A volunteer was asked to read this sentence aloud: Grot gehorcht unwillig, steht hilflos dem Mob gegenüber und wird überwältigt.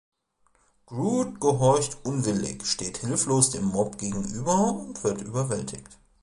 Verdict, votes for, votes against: rejected, 1, 2